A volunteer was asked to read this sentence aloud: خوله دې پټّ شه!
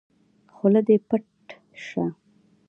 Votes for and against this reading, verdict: 1, 2, rejected